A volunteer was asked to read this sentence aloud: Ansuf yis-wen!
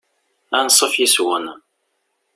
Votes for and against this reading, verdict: 0, 2, rejected